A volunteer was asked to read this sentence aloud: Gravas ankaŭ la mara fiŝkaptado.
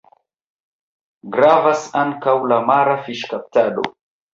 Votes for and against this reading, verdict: 0, 2, rejected